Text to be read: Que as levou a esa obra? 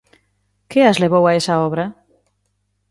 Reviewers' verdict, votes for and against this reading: accepted, 2, 0